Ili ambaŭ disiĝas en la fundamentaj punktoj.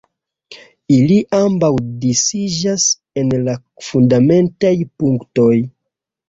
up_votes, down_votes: 0, 2